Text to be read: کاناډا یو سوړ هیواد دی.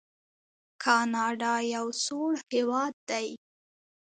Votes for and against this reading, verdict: 2, 0, accepted